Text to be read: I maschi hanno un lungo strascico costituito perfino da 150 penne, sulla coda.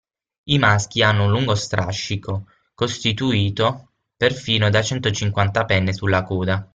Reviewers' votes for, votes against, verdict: 0, 2, rejected